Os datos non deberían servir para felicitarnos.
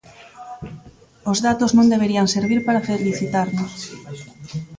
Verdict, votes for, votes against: rejected, 0, 2